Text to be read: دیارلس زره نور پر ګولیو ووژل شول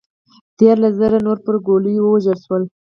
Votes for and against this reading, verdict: 2, 4, rejected